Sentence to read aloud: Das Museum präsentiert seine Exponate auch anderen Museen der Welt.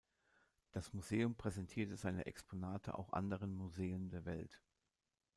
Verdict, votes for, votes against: rejected, 0, 2